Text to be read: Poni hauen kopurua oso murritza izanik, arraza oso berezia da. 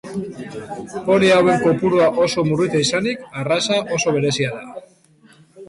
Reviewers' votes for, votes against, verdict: 2, 0, accepted